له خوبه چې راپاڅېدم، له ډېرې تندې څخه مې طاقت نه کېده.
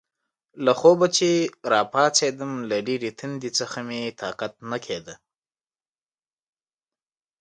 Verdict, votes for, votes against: accepted, 2, 0